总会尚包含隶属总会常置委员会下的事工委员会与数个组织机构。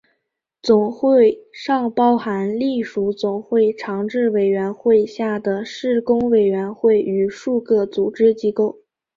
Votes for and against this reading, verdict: 4, 3, accepted